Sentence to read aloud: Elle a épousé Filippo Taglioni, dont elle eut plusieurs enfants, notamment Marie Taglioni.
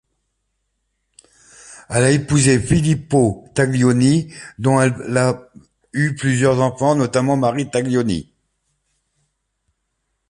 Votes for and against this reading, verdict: 0, 2, rejected